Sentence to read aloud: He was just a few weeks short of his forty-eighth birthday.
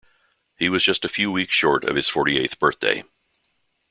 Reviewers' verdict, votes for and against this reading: accepted, 2, 0